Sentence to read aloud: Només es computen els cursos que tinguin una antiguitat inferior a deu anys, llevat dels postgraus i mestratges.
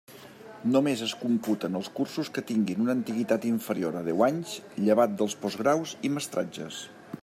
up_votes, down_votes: 3, 0